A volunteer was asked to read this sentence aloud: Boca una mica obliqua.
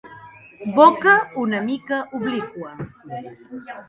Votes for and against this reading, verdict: 2, 1, accepted